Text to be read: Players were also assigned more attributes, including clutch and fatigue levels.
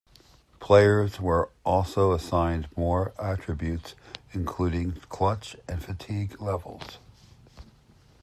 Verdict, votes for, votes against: accepted, 2, 0